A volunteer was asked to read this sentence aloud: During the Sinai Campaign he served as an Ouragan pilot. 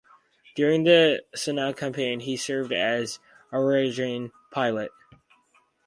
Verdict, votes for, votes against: rejected, 2, 2